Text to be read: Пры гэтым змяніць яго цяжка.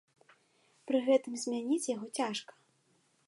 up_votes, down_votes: 2, 0